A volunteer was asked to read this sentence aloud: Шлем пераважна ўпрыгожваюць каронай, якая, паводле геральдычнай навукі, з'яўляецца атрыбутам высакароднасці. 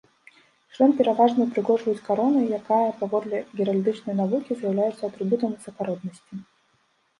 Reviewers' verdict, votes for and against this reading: accepted, 2, 0